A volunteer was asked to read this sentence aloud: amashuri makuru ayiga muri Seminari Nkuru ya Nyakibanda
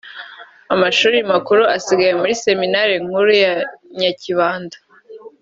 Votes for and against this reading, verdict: 2, 1, accepted